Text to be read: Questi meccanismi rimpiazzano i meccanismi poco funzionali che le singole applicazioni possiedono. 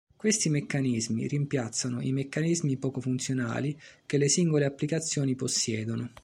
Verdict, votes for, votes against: accepted, 2, 0